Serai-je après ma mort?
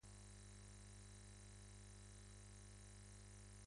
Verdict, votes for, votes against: rejected, 0, 2